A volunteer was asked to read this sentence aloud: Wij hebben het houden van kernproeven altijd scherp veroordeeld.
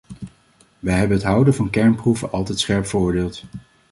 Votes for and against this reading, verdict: 2, 0, accepted